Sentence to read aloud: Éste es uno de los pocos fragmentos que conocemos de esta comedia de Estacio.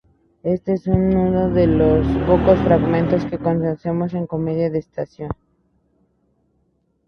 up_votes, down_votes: 0, 2